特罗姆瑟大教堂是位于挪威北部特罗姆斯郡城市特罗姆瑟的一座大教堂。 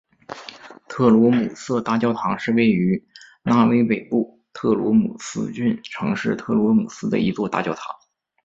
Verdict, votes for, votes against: accepted, 2, 0